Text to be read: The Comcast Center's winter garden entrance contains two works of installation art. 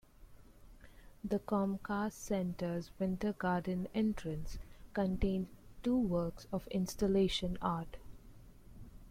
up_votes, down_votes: 2, 0